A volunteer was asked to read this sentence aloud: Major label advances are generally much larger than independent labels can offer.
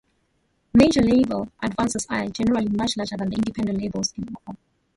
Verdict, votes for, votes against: accepted, 2, 1